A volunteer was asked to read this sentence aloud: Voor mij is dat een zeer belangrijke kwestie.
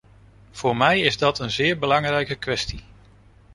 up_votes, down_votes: 2, 0